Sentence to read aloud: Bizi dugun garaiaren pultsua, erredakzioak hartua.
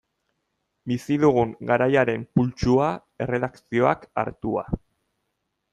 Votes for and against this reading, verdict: 2, 0, accepted